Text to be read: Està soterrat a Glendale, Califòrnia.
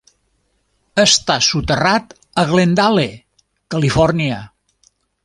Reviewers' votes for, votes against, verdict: 3, 0, accepted